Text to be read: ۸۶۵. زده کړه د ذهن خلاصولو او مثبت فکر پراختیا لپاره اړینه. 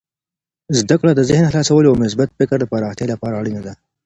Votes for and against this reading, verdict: 0, 2, rejected